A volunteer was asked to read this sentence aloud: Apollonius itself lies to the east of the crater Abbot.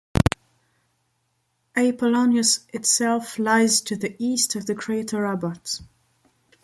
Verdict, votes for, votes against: rejected, 1, 2